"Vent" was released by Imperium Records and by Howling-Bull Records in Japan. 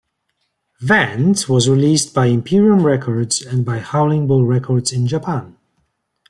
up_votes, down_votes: 2, 0